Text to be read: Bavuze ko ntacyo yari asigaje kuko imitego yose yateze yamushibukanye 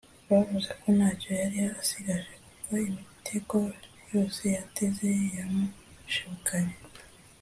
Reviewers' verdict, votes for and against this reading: accepted, 2, 0